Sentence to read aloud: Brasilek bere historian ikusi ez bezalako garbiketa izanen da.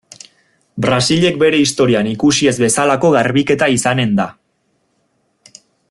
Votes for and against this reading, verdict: 2, 0, accepted